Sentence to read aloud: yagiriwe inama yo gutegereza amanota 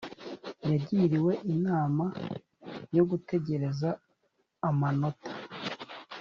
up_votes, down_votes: 2, 0